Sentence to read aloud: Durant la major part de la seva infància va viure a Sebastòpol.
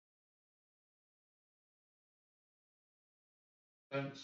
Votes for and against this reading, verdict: 1, 2, rejected